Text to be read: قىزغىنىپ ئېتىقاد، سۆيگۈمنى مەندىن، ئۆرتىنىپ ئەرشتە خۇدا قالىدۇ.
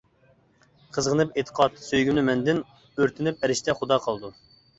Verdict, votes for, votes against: accepted, 2, 0